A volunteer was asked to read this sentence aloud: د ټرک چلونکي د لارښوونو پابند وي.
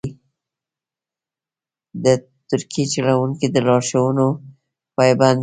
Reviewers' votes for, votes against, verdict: 2, 1, accepted